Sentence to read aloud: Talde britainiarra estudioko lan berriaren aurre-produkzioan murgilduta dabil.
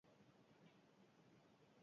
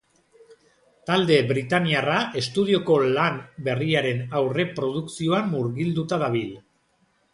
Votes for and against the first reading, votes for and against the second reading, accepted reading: 0, 6, 2, 0, second